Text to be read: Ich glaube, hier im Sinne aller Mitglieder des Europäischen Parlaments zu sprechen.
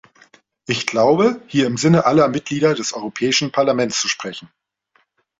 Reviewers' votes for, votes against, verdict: 2, 1, accepted